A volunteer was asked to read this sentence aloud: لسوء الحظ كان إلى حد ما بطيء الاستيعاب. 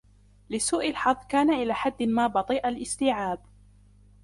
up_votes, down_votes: 0, 2